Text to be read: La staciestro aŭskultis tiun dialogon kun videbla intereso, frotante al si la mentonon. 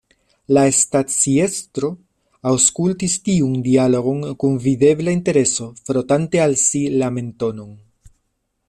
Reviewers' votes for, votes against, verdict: 1, 2, rejected